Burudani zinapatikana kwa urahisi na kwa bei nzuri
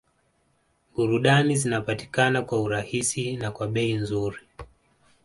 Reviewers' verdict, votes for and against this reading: accepted, 2, 1